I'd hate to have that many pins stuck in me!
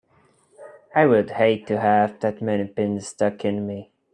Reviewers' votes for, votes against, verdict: 0, 2, rejected